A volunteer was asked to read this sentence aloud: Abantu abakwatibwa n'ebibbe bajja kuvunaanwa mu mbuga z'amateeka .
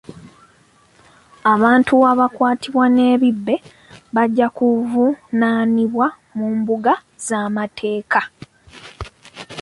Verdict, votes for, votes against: rejected, 1, 2